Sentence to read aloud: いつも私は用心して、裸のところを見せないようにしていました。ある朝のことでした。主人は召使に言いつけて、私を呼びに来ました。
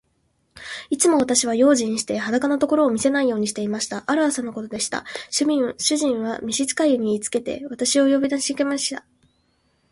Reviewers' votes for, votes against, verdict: 4, 9, rejected